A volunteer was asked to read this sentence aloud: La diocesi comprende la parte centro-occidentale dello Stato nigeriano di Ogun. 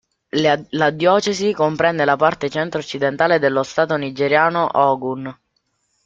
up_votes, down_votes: 0, 2